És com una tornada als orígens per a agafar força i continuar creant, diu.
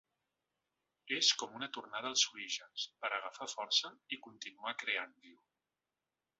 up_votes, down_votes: 2, 0